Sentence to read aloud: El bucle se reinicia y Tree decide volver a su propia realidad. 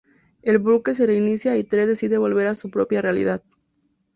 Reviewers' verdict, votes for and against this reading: accepted, 4, 0